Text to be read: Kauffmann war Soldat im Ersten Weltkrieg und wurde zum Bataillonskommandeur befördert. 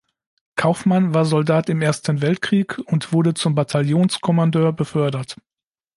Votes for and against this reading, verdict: 2, 0, accepted